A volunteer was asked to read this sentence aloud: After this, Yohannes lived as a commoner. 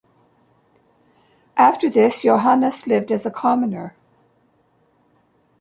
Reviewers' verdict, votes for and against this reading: accepted, 2, 0